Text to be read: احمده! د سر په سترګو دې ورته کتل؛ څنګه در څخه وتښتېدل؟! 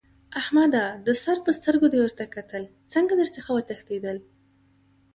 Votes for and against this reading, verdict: 2, 0, accepted